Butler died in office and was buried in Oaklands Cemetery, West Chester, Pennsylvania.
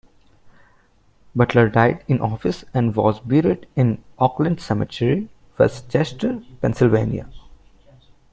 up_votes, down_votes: 2, 1